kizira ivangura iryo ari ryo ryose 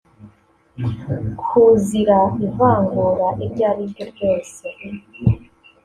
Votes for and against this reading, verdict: 1, 2, rejected